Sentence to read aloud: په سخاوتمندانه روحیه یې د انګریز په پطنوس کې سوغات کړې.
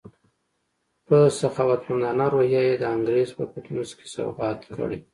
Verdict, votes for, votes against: rejected, 0, 2